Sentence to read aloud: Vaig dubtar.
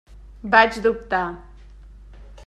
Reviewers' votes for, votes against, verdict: 3, 0, accepted